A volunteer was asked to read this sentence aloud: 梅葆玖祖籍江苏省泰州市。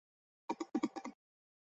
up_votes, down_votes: 1, 4